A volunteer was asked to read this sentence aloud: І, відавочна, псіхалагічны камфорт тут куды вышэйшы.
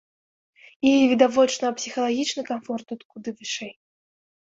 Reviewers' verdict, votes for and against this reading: rejected, 1, 3